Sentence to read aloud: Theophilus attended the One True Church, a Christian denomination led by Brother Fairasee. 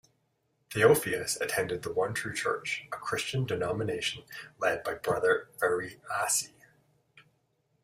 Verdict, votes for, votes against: rejected, 1, 2